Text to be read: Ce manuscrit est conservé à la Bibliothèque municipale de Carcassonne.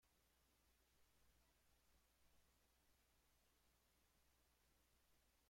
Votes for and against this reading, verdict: 0, 2, rejected